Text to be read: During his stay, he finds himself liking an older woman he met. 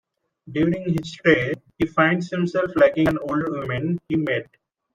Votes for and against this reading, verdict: 1, 2, rejected